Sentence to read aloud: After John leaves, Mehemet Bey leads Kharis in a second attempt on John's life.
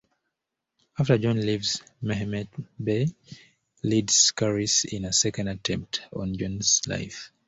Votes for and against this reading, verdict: 2, 0, accepted